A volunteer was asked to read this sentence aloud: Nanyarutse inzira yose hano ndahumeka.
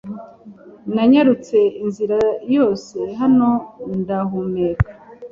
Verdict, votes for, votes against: accepted, 2, 0